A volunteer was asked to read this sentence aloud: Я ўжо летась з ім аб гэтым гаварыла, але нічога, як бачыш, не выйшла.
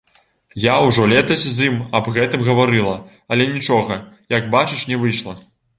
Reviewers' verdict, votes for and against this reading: accepted, 2, 0